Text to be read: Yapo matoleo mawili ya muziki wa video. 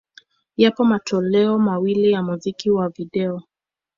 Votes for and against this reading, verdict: 2, 0, accepted